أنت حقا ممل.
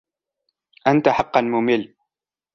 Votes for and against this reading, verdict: 2, 0, accepted